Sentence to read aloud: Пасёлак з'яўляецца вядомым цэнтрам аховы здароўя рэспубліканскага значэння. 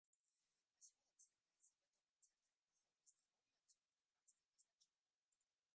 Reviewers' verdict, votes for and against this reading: rejected, 0, 3